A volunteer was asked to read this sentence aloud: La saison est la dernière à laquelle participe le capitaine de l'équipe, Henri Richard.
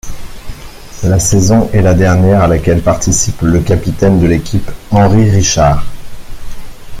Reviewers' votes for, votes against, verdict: 1, 2, rejected